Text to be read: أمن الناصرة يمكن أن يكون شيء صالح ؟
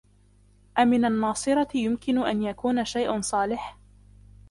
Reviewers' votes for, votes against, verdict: 0, 2, rejected